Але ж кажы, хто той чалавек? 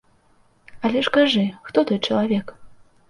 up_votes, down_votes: 2, 0